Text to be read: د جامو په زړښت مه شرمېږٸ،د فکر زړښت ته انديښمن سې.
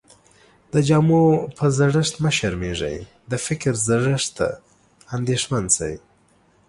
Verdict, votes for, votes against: accepted, 2, 0